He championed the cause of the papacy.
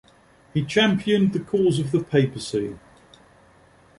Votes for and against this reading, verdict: 2, 0, accepted